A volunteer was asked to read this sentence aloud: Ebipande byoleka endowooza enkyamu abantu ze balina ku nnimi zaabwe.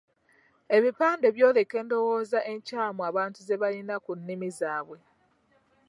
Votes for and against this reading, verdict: 2, 0, accepted